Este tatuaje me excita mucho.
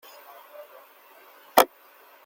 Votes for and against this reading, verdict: 0, 2, rejected